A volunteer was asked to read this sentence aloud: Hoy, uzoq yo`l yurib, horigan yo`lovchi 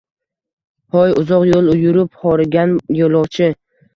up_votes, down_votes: 2, 0